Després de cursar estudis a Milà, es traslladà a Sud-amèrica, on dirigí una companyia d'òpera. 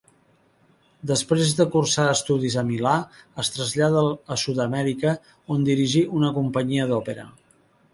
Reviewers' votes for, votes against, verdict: 1, 3, rejected